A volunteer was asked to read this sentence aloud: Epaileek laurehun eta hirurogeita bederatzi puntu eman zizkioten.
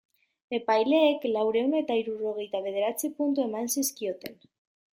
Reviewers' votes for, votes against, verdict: 2, 0, accepted